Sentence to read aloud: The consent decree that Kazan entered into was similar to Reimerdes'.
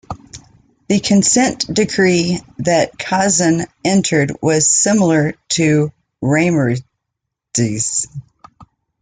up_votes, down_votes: 0, 2